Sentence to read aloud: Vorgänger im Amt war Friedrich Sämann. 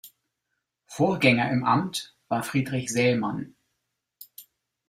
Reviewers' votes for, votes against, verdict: 2, 0, accepted